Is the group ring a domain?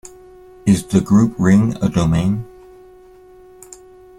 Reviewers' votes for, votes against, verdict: 2, 0, accepted